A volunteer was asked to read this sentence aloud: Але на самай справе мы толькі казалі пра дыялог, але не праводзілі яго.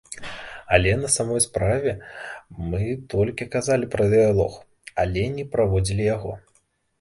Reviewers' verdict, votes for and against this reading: rejected, 1, 2